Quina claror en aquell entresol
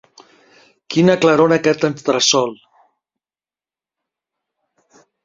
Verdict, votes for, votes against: rejected, 1, 2